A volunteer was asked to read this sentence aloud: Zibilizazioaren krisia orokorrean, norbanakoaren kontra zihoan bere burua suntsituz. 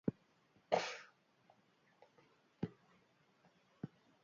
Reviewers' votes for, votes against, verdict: 0, 2, rejected